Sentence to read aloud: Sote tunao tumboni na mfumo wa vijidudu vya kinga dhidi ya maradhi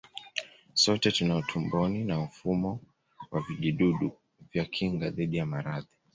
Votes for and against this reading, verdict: 2, 0, accepted